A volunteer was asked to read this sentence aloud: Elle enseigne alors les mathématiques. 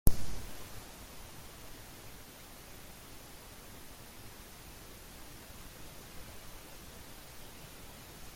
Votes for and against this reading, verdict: 0, 2, rejected